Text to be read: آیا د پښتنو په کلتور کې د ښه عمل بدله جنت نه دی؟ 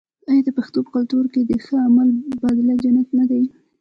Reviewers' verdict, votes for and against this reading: rejected, 0, 2